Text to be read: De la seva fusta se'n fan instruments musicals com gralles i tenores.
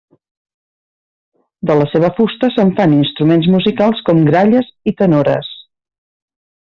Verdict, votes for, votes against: accepted, 2, 0